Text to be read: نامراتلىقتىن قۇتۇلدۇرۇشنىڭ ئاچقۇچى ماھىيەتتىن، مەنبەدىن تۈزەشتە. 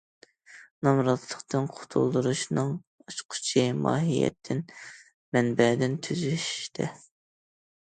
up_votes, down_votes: 2, 0